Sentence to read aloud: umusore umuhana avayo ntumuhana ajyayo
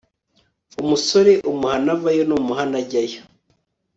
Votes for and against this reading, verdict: 2, 1, accepted